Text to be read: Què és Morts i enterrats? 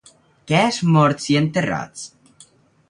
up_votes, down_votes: 0, 2